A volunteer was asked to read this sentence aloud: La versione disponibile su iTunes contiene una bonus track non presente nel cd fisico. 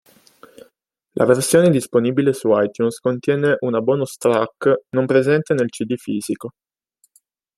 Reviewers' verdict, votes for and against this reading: accepted, 2, 0